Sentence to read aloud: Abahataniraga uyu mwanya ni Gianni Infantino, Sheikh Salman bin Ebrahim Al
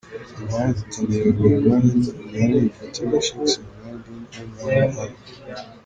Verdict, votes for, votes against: rejected, 1, 2